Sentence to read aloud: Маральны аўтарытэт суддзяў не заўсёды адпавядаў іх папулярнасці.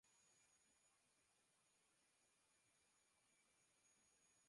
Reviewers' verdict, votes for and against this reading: rejected, 0, 3